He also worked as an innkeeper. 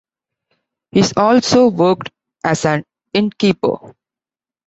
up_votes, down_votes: 0, 2